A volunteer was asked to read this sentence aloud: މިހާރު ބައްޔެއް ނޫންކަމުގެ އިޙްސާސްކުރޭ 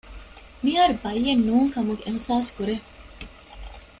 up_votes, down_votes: 2, 0